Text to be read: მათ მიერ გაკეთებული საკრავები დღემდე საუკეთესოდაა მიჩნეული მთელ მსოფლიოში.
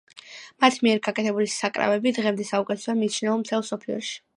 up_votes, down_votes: 2, 0